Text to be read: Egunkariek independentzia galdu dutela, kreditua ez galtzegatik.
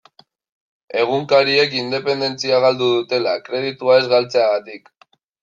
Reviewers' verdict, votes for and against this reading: rejected, 1, 2